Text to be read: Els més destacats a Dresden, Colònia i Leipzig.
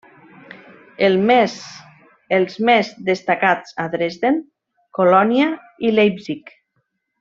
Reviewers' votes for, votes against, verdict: 0, 2, rejected